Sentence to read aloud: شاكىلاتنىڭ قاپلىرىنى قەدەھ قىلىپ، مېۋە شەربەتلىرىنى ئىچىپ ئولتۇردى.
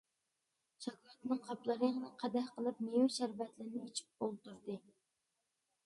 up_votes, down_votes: 0, 2